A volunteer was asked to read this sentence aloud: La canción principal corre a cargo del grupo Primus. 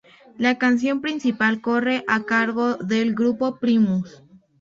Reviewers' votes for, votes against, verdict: 2, 0, accepted